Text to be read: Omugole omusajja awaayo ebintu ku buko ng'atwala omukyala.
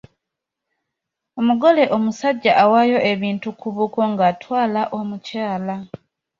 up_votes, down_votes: 2, 0